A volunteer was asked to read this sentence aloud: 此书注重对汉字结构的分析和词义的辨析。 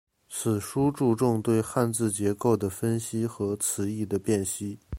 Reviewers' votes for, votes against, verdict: 2, 0, accepted